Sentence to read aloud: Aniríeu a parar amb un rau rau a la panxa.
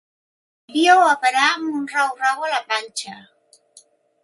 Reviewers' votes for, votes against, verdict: 0, 2, rejected